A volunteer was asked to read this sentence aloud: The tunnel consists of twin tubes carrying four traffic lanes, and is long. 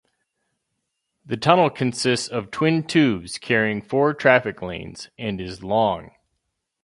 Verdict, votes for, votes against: accepted, 2, 0